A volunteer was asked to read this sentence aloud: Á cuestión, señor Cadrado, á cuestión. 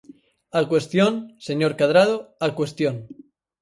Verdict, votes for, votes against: accepted, 4, 0